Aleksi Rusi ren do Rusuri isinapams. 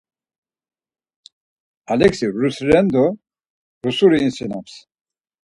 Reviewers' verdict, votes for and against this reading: rejected, 2, 4